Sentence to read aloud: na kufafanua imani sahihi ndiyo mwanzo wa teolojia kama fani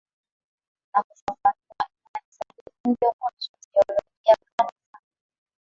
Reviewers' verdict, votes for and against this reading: rejected, 0, 2